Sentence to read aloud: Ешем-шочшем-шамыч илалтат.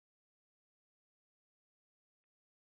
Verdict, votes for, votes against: rejected, 0, 2